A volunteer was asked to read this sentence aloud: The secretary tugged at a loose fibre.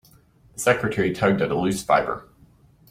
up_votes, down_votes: 2, 1